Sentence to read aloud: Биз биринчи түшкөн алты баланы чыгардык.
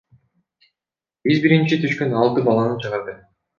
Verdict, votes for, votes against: rejected, 1, 2